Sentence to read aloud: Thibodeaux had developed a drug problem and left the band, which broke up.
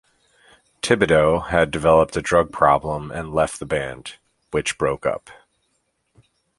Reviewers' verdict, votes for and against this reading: accepted, 2, 0